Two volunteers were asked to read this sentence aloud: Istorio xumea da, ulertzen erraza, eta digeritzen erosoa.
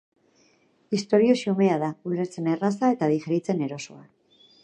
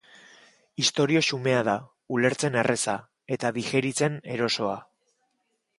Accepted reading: first